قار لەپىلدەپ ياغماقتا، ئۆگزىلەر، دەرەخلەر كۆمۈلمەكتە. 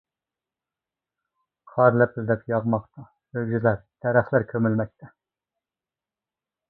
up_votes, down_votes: 0, 2